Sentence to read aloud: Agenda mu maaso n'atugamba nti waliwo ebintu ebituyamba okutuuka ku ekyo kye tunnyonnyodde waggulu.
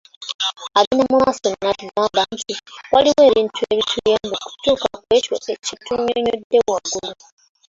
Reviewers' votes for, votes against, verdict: 0, 2, rejected